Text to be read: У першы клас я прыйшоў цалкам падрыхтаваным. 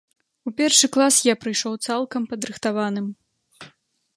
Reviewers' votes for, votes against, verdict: 2, 0, accepted